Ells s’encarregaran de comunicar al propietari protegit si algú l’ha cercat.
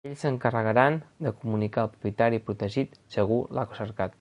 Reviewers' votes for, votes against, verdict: 2, 0, accepted